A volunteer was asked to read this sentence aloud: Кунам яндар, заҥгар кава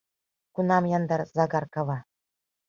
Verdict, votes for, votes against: rejected, 1, 2